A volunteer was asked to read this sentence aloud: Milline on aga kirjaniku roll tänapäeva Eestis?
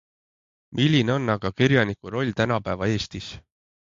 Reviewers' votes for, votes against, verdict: 2, 0, accepted